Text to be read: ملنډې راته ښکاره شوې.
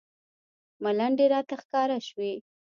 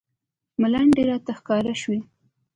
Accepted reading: second